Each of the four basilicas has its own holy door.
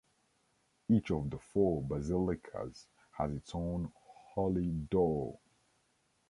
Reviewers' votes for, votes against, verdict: 0, 2, rejected